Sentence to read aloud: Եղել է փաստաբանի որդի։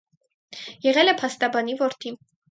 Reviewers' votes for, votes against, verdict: 4, 0, accepted